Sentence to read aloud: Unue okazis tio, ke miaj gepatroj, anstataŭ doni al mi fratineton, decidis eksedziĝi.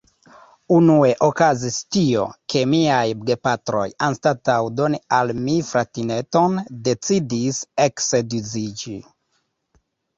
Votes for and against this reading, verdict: 1, 2, rejected